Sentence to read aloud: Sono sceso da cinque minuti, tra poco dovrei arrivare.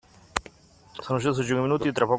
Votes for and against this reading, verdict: 0, 2, rejected